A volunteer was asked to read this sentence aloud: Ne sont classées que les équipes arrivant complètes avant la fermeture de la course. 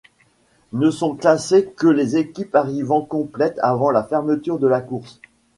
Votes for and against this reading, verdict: 2, 0, accepted